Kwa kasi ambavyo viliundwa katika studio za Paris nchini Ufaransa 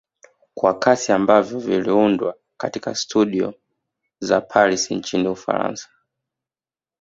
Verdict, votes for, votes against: accepted, 2, 0